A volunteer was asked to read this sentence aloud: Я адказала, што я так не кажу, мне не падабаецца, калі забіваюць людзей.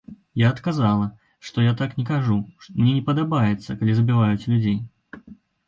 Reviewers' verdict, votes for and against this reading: rejected, 0, 2